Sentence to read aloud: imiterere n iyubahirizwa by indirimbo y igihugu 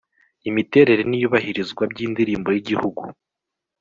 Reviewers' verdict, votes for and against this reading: accepted, 2, 0